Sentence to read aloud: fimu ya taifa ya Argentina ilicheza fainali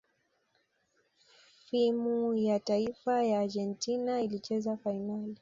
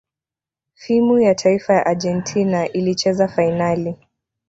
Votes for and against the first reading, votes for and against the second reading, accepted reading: 2, 1, 0, 2, first